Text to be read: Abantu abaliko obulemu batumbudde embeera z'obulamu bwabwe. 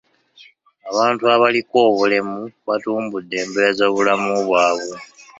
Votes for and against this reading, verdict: 2, 1, accepted